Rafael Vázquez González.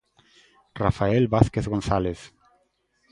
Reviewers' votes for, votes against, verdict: 2, 0, accepted